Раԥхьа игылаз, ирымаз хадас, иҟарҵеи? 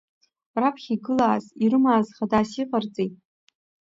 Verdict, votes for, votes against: rejected, 1, 2